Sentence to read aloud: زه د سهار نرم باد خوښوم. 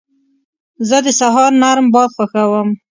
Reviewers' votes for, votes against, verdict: 2, 0, accepted